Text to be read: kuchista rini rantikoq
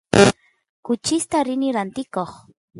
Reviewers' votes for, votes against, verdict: 1, 2, rejected